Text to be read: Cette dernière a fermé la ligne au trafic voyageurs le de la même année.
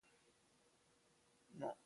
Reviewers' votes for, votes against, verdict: 2, 0, accepted